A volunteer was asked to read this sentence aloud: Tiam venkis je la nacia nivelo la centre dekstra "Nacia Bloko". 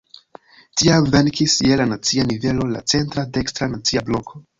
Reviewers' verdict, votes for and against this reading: rejected, 1, 2